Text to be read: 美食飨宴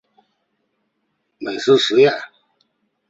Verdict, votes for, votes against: accepted, 3, 0